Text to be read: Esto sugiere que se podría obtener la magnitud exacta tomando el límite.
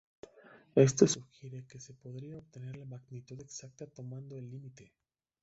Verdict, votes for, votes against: rejected, 0, 2